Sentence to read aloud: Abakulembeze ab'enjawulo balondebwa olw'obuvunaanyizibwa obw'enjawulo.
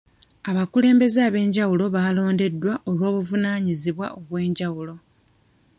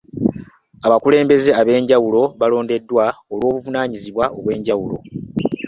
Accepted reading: second